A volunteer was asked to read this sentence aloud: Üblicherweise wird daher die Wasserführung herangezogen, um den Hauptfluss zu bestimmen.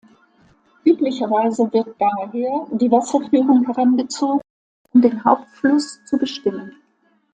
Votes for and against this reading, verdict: 2, 1, accepted